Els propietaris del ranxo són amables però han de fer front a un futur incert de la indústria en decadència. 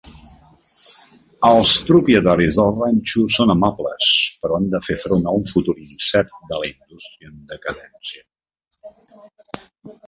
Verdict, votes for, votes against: rejected, 0, 2